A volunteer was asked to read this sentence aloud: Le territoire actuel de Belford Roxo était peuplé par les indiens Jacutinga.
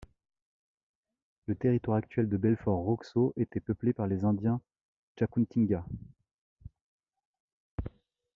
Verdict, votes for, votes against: accepted, 2, 0